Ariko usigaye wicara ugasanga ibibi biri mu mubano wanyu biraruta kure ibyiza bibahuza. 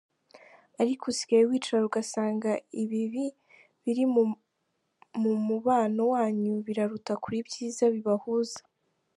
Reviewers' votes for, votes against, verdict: 0, 2, rejected